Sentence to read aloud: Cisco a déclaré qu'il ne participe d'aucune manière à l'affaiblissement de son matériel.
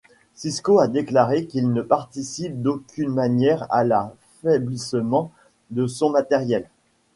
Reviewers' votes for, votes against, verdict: 1, 2, rejected